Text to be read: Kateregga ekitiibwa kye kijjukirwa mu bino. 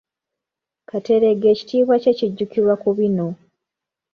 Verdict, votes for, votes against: accepted, 2, 1